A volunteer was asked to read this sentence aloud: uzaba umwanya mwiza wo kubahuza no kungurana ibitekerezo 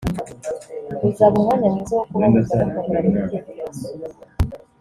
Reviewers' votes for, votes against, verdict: 1, 2, rejected